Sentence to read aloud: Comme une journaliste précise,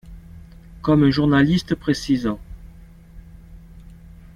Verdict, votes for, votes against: rejected, 1, 2